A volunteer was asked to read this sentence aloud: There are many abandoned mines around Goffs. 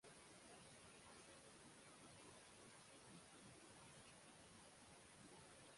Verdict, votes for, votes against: rejected, 0, 3